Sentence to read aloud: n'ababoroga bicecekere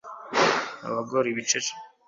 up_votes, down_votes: 1, 2